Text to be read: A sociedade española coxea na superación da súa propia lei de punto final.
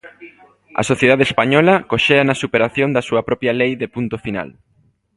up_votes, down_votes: 1, 2